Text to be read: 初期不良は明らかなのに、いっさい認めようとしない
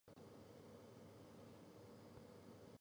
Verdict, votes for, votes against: rejected, 0, 2